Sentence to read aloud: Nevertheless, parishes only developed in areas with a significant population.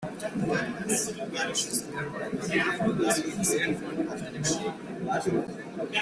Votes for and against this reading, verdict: 0, 2, rejected